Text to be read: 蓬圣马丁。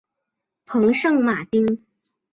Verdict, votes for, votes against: accepted, 2, 0